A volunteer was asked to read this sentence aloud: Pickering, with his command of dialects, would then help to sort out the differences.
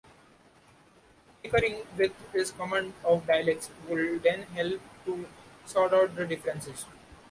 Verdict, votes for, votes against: rejected, 1, 2